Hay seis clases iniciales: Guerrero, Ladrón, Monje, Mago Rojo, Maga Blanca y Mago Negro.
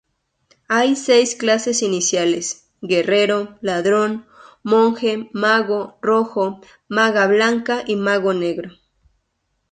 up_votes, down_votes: 2, 0